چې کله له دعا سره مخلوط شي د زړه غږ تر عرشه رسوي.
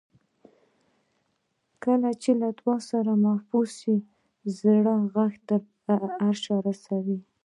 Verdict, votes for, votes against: rejected, 1, 2